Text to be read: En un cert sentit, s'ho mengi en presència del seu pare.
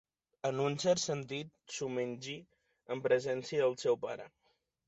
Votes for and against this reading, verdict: 2, 0, accepted